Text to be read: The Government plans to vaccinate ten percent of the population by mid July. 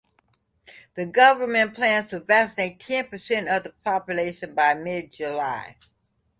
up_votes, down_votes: 2, 0